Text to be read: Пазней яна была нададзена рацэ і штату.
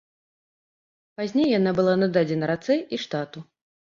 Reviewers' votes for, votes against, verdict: 2, 0, accepted